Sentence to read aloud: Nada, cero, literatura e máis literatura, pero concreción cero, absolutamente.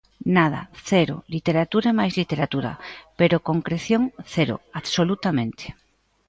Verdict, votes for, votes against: accepted, 2, 0